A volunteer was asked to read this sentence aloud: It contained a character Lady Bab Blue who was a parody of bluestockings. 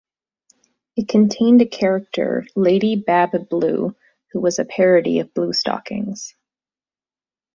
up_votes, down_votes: 2, 0